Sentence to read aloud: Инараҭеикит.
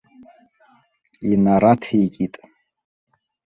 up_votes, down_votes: 1, 2